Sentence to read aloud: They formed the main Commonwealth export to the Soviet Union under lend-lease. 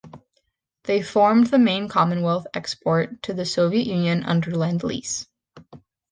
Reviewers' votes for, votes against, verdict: 2, 0, accepted